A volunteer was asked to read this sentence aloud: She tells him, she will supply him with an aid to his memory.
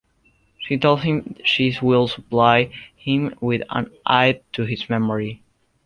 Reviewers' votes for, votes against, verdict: 1, 2, rejected